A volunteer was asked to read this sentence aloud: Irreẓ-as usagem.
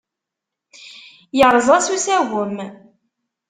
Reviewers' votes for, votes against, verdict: 2, 0, accepted